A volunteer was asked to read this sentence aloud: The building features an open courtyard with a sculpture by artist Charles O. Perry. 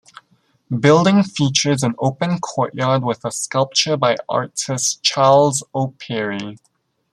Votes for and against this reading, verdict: 0, 2, rejected